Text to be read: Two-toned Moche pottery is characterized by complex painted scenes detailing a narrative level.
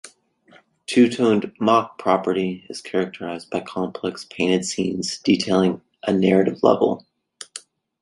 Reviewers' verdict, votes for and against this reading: rejected, 0, 2